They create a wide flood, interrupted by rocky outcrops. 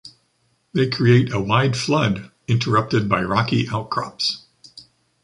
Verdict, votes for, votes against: accepted, 2, 0